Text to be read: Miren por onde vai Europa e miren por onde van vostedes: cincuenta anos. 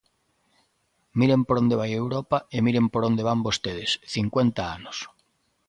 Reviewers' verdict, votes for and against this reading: accepted, 2, 0